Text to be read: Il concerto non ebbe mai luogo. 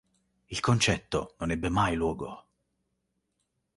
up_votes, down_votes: 1, 2